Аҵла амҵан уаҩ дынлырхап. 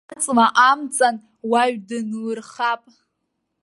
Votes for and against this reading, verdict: 1, 2, rejected